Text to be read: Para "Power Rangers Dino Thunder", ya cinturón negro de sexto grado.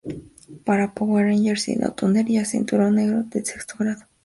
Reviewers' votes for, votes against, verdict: 2, 0, accepted